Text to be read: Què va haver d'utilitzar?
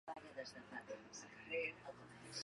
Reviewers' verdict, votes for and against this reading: rejected, 0, 2